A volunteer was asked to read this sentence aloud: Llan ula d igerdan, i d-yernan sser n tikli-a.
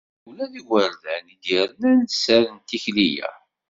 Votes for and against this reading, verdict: 0, 2, rejected